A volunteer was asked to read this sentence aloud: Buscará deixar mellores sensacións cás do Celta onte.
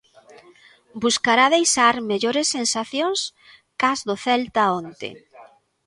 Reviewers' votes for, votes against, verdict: 2, 0, accepted